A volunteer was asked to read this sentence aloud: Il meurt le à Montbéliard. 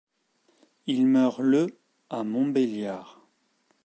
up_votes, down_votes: 2, 0